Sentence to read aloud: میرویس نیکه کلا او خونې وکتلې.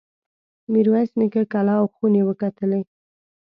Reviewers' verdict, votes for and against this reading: accepted, 2, 0